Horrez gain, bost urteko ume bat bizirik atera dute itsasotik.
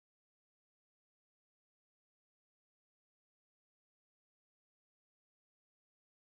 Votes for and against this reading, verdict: 0, 2, rejected